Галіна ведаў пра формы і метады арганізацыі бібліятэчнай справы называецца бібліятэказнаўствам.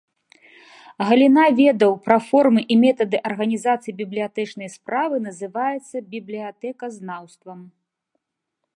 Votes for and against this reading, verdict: 2, 0, accepted